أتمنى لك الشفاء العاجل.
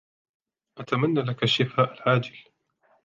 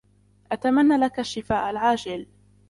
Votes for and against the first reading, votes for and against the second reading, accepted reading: 2, 0, 0, 2, first